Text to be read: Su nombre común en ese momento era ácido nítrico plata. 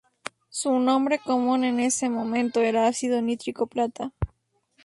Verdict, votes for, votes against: rejected, 0, 2